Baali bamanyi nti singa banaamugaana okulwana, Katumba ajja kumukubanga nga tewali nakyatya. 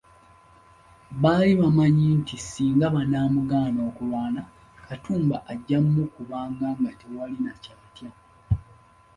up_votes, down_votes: 1, 2